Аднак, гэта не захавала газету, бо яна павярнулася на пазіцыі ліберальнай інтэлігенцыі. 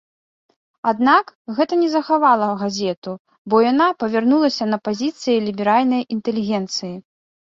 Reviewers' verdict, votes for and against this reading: accepted, 2, 0